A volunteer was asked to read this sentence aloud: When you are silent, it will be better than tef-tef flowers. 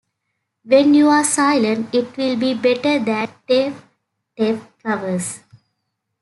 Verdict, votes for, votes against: rejected, 0, 2